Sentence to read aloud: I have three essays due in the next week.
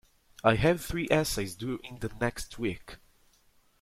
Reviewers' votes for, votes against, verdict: 2, 0, accepted